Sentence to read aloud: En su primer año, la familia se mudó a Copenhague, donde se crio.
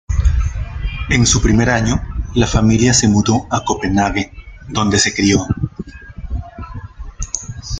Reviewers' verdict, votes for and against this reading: accepted, 2, 0